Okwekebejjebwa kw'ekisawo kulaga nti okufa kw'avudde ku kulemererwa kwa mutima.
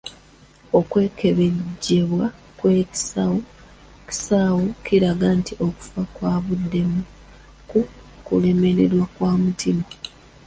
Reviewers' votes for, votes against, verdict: 0, 2, rejected